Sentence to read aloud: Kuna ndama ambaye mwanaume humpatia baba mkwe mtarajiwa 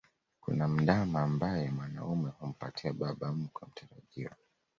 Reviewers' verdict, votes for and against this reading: rejected, 0, 2